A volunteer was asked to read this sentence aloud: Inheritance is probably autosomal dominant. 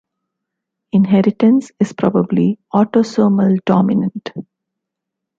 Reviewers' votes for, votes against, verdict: 2, 1, accepted